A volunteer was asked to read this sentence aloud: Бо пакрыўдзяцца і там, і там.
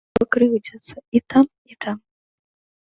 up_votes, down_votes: 0, 2